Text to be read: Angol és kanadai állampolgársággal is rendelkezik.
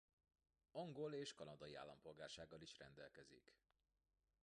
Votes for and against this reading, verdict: 2, 0, accepted